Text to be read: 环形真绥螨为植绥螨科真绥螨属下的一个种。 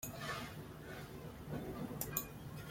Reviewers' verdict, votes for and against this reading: rejected, 0, 2